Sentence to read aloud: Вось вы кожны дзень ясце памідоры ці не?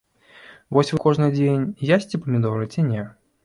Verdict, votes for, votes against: rejected, 1, 2